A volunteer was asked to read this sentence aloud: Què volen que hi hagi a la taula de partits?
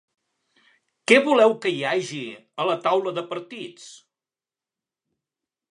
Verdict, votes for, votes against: rejected, 1, 2